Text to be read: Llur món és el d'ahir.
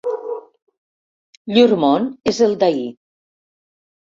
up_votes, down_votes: 2, 0